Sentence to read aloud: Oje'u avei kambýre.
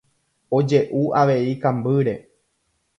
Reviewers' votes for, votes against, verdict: 2, 0, accepted